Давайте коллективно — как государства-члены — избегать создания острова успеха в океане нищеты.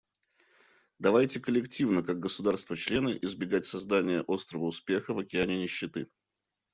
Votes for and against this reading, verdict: 2, 0, accepted